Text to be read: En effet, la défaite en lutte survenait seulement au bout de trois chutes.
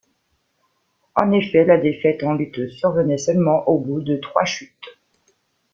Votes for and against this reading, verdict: 3, 1, accepted